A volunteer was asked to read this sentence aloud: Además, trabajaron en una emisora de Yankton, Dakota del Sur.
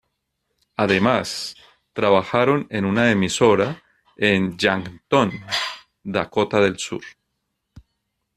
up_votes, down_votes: 0, 2